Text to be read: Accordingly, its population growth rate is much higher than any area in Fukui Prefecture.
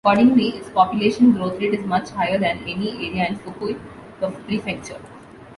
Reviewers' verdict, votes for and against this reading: rejected, 1, 2